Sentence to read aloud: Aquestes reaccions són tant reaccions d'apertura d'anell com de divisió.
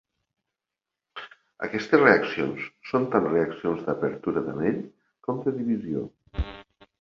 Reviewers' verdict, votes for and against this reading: accepted, 2, 0